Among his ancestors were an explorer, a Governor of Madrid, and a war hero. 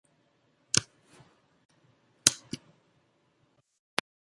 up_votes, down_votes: 0, 2